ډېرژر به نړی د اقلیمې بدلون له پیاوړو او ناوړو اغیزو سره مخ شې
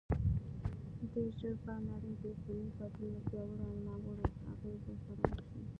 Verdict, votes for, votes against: rejected, 1, 2